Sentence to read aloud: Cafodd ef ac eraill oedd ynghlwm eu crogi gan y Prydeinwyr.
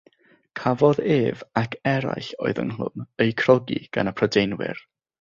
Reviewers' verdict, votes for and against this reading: accepted, 6, 0